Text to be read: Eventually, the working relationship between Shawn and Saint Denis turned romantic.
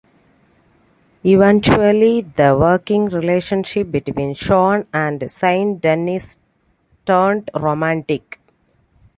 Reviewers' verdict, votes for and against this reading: accepted, 2, 0